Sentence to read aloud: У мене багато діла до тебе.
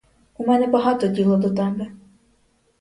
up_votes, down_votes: 2, 4